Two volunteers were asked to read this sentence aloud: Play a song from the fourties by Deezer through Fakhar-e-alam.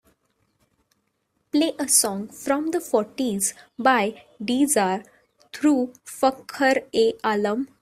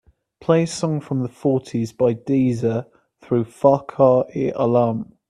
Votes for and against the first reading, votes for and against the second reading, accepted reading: 1, 2, 2, 1, second